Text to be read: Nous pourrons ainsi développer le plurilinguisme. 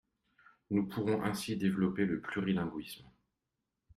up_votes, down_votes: 3, 0